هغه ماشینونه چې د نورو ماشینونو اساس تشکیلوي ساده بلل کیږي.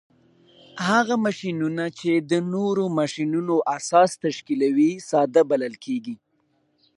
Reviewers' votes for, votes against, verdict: 2, 1, accepted